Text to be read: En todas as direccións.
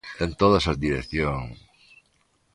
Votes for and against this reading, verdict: 2, 0, accepted